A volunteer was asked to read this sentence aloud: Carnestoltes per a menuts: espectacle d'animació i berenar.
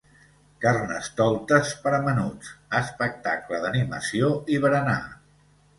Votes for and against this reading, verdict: 2, 0, accepted